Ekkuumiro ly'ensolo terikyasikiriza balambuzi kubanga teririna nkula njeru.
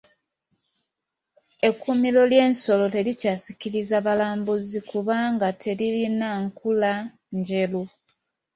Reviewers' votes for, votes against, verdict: 2, 1, accepted